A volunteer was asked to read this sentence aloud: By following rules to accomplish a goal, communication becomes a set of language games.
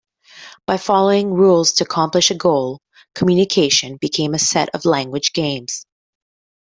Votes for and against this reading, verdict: 1, 2, rejected